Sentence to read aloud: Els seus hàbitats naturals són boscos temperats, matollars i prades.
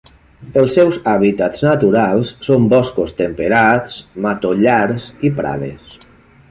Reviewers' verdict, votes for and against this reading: accepted, 3, 0